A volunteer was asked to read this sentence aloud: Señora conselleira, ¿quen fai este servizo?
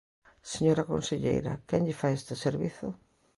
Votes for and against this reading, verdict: 0, 2, rejected